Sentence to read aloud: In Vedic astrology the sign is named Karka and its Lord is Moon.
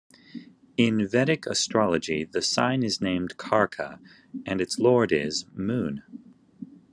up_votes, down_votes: 2, 0